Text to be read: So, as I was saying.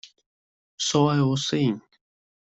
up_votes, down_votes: 1, 2